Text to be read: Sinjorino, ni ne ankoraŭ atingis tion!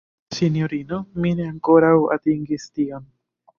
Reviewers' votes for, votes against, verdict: 1, 2, rejected